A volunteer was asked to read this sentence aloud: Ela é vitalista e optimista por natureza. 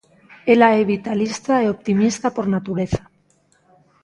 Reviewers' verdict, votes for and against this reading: accepted, 2, 0